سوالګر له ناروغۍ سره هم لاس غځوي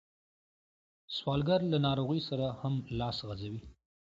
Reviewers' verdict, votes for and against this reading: accepted, 2, 0